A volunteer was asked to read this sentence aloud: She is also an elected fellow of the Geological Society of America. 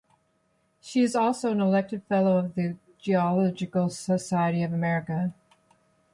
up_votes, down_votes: 2, 1